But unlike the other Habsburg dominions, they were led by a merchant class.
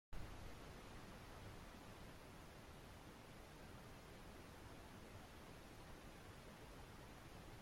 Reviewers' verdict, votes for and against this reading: rejected, 0, 2